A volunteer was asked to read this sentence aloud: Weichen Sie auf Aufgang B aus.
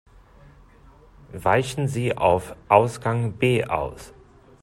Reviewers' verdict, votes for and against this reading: rejected, 0, 2